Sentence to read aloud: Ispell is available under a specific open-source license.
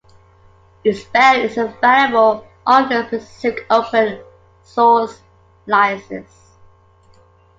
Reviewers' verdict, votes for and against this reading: accepted, 2, 1